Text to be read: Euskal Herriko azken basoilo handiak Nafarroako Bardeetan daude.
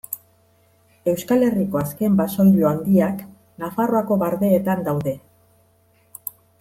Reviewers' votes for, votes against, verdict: 2, 0, accepted